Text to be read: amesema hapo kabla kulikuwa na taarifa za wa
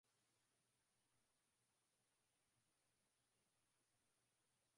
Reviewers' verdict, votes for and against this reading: rejected, 0, 5